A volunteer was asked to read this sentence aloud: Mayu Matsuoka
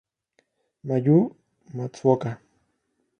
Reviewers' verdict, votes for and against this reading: accepted, 2, 0